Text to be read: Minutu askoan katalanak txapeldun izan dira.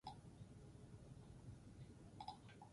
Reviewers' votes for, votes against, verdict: 0, 4, rejected